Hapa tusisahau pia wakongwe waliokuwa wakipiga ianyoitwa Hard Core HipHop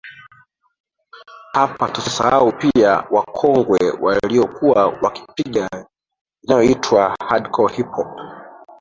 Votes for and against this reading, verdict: 0, 2, rejected